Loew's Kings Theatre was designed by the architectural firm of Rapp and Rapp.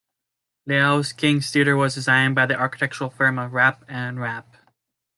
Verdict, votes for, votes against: rejected, 1, 2